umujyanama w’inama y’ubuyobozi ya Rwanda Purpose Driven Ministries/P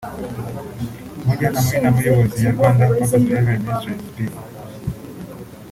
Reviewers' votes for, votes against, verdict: 1, 4, rejected